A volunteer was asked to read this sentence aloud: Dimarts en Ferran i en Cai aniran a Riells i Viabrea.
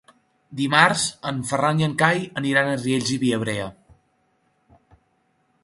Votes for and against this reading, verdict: 3, 0, accepted